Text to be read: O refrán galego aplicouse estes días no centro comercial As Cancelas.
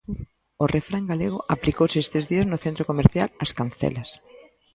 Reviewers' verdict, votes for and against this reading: accepted, 2, 0